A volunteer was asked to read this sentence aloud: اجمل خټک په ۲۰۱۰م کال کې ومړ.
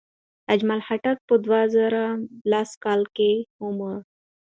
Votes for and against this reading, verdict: 0, 2, rejected